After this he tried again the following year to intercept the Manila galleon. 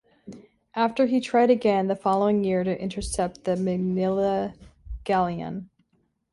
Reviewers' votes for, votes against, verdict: 0, 2, rejected